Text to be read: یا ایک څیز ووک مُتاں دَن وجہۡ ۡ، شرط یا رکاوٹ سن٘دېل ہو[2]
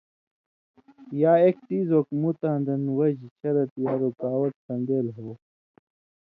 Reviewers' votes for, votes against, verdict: 0, 2, rejected